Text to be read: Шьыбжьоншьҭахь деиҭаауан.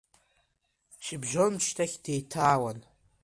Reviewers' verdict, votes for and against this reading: accepted, 2, 1